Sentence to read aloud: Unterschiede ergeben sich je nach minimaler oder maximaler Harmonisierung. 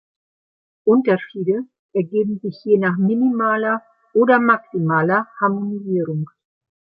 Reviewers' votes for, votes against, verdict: 2, 1, accepted